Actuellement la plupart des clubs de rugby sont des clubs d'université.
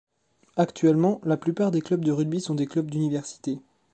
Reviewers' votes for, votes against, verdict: 2, 0, accepted